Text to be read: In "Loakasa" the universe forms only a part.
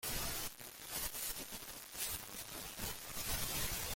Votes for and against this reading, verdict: 0, 2, rejected